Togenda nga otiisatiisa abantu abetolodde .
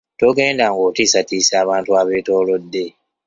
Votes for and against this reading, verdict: 2, 0, accepted